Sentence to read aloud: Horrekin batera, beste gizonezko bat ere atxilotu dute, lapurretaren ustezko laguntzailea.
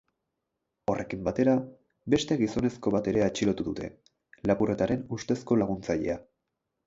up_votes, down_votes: 10, 0